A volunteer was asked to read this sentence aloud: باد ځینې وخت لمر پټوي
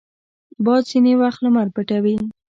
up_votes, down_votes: 2, 1